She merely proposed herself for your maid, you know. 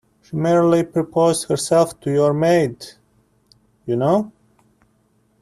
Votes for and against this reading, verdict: 0, 2, rejected